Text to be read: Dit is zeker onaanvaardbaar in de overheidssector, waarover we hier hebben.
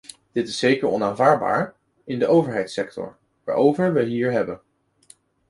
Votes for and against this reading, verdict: 2, 0, accepted